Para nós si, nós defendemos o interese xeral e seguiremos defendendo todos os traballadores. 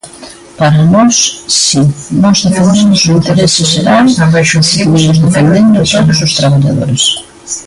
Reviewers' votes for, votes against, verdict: 1, 2, rejected